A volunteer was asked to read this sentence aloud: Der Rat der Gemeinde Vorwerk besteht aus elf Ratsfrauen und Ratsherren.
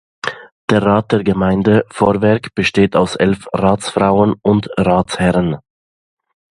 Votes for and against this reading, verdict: 2, 0, accepted